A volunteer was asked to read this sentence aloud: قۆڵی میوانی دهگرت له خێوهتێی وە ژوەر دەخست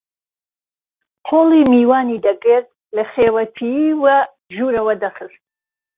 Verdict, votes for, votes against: rejected, 0, 2